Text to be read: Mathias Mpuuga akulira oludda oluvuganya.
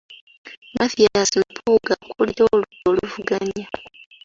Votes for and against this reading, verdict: 2, 0, accepted